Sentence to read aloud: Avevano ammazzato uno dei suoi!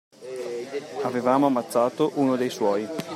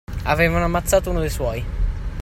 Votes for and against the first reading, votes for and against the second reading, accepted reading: 0, 2, 2, 0, second